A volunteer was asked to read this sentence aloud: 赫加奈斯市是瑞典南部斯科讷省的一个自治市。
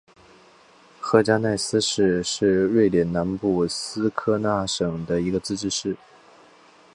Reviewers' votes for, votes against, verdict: 2, 0, accepted